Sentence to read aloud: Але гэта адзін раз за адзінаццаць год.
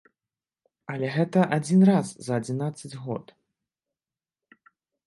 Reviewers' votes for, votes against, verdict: 3, 0, accepted